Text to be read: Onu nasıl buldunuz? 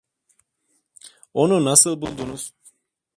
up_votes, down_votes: 2, 0